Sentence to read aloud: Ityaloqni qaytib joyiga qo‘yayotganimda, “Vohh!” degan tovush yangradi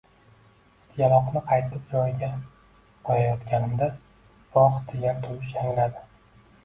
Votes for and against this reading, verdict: 1, 2, rejected